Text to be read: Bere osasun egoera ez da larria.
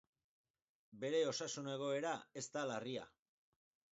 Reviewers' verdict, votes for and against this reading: accepted, 4, 0